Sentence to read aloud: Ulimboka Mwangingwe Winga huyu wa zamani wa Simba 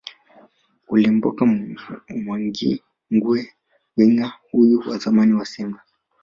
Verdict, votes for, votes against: rejected, 1, 2